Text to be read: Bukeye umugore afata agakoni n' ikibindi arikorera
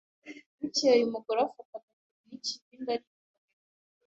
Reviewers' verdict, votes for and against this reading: rejected, 1, 2